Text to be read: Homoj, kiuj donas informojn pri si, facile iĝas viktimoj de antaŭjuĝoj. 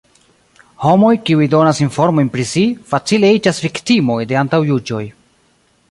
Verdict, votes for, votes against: rejected, 0, 2